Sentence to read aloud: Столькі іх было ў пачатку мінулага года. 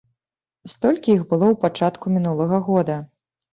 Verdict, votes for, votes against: accepted, 2, 0